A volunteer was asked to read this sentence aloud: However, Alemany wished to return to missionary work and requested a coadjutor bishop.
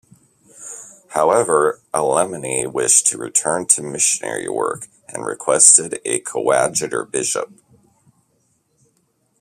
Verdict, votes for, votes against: rejected, 1, 2